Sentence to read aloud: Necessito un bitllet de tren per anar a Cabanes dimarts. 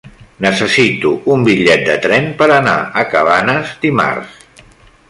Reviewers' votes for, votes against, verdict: 3, 0, accepted